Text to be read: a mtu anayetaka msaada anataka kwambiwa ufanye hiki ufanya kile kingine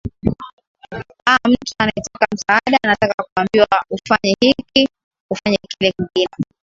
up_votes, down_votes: 17, 2